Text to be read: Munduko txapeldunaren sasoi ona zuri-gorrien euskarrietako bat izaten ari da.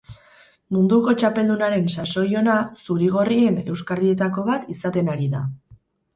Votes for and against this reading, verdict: 4, 0, accepted